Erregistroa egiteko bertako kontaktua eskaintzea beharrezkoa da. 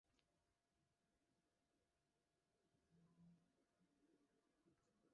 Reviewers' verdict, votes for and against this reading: rejected, 0, 2